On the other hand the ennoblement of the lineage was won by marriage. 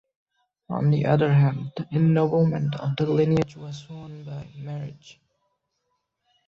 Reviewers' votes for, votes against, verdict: 1, 2, rejected